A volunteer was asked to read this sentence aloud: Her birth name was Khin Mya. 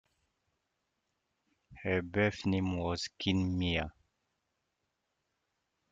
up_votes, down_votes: 2, 0